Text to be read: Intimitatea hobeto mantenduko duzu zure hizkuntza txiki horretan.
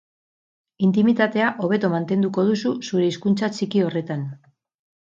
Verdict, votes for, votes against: rejected, 2, 2